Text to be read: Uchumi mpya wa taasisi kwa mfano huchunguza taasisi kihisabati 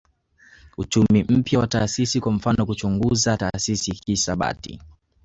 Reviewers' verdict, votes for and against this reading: accepted, 2, 0